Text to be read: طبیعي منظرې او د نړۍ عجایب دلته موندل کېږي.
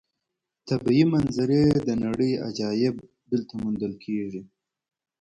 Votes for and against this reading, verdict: 2, 0, accepted